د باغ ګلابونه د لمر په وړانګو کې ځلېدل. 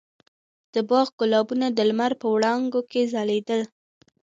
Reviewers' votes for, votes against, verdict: 2, 1, accepted